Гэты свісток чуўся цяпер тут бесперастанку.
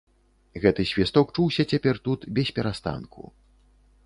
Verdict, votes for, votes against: accepted, 2, 0